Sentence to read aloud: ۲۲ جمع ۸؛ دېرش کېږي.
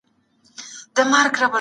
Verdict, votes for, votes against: rejected, 0, 2